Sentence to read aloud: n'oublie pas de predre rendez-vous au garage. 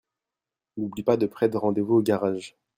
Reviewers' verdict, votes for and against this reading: rejected, 0, 2